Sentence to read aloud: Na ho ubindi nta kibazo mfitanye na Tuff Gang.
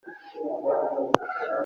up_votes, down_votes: 0, 2